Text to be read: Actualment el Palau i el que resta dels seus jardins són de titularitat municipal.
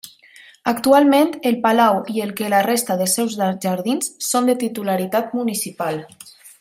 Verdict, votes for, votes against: rejected, 0, 2